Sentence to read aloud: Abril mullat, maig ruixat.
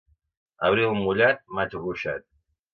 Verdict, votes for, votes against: accepted, 2, 0